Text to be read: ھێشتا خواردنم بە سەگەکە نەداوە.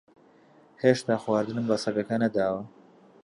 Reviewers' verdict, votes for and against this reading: accepted, 2, 0